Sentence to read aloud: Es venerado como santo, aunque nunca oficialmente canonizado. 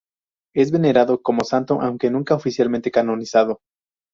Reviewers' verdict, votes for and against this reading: accepted, 4, 0